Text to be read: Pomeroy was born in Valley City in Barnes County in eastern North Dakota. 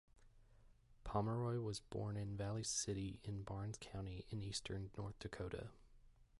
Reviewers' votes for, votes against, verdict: 0, 2, rejected